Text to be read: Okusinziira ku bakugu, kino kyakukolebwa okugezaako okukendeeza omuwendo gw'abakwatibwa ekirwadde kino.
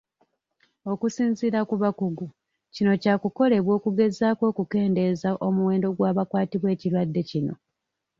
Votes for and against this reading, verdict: 1, 2, rejected